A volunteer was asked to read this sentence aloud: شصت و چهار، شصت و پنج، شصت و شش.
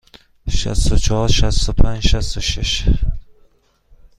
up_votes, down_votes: 2, 0